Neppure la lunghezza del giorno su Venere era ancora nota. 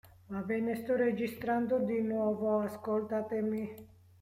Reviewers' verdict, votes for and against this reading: rejected, 0, 2